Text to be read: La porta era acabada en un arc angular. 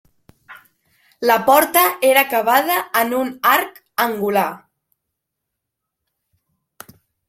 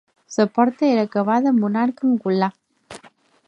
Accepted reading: first